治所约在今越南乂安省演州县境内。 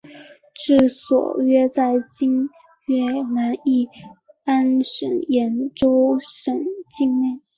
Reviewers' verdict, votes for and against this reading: rejected, 0, 3